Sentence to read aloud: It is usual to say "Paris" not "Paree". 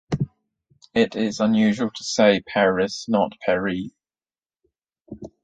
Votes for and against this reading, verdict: 0, 2, rejected